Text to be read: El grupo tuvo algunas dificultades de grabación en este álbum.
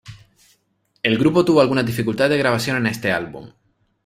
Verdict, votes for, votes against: accepted, 2, 0